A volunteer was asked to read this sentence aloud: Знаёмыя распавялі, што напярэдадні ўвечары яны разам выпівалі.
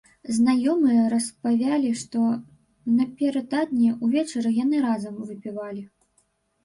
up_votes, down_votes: 0, 2